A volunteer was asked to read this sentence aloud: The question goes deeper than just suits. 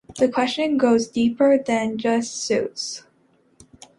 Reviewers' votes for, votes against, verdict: 2, 0, accepted